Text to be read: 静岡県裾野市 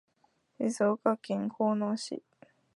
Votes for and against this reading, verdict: 0, 2, rejected